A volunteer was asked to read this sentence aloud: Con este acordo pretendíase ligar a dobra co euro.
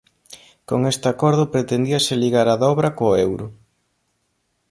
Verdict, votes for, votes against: accepted, 2, 0